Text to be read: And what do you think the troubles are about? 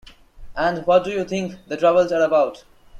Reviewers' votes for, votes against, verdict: 2, 0, accepted